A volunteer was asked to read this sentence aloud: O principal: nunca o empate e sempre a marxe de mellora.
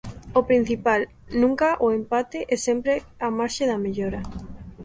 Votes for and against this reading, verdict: 0, 2, rejected